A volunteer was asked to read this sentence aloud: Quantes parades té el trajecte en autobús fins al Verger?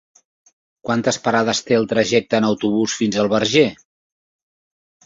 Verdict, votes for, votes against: accepted, 3, 0